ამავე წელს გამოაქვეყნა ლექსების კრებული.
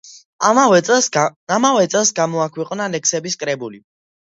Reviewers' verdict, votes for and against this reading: rejected, 0, 2